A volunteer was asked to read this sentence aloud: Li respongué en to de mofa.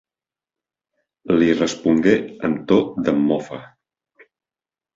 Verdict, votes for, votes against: rejected, 0, 2